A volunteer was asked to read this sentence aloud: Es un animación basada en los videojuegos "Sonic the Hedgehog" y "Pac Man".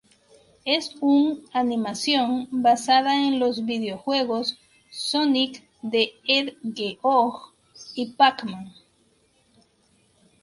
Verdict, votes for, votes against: rejected, 2, 2